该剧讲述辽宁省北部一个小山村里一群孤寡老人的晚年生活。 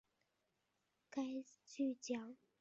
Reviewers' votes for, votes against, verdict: 2, 3, rejected